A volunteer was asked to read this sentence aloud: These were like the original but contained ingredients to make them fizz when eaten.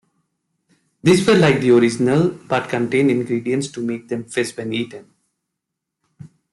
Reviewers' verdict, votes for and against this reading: rejected, 1, 2